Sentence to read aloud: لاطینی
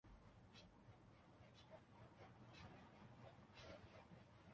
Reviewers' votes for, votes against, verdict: 0, 3, rejected